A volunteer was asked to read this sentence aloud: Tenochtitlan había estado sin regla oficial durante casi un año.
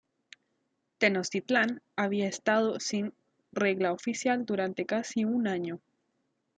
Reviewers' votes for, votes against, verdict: 2, 1, accepted